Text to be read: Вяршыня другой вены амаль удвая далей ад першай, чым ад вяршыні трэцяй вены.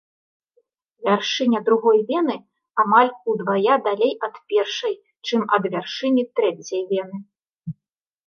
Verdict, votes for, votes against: accepted, 2, 0